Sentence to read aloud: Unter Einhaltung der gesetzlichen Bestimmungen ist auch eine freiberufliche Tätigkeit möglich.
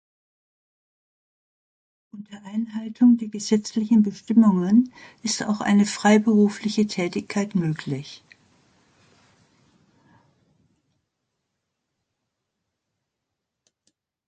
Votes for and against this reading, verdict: 2, 0, accepted